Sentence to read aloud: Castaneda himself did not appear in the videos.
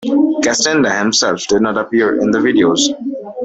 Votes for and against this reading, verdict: 1, 2, rejected